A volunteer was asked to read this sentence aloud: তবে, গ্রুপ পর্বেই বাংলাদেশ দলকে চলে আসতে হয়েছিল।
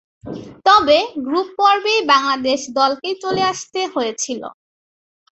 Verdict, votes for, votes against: accepted, 2, 0